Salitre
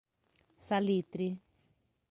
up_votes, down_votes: 3, 0